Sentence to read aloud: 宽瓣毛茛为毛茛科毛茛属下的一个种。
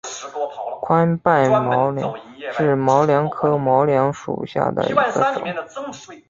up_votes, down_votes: 4, 1